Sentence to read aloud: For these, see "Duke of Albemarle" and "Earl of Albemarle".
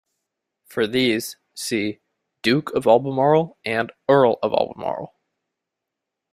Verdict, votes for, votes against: accepted, 2, 0